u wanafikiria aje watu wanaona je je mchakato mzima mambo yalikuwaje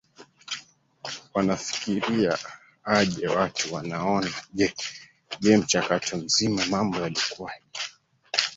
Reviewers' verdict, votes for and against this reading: rejected, 1, 2